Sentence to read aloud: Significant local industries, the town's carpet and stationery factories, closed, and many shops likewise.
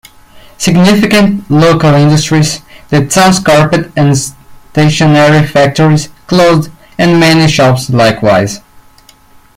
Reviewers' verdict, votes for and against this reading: accepted, 2, 0